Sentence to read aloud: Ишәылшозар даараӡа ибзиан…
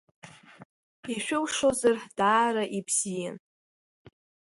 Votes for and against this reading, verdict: 1, 2, rejected